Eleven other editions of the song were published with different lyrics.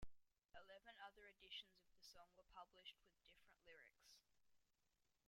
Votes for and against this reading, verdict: 2, 0, accepted